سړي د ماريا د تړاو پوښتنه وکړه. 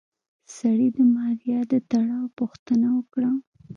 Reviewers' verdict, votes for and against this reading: accepted, 2, 1